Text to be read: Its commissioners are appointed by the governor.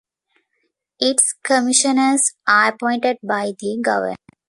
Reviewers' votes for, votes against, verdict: 2, 0, accepted